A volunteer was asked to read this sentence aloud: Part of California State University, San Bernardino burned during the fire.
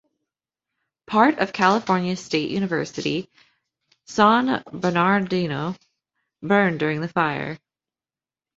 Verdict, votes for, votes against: rejected, 1, 2